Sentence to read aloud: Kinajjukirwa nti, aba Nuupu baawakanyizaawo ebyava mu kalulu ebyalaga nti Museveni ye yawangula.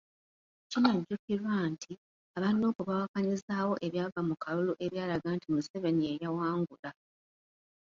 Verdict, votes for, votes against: accepted, 2, 1